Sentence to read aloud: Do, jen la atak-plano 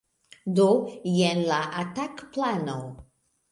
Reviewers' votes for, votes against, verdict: 2, 1, accepted